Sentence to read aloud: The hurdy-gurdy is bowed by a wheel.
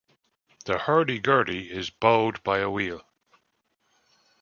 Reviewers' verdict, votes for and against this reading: accepted, 2, 0